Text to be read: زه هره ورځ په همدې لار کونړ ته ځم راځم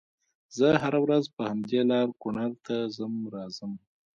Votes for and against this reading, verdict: 0, 2, rejected